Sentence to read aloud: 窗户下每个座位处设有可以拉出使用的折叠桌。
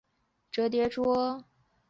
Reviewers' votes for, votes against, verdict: 0, 6, rejected